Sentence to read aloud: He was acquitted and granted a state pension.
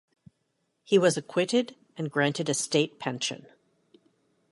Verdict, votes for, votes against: accepted, 2, 0